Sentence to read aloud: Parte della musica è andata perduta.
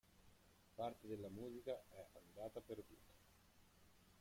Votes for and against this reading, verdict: 0, 2, rejected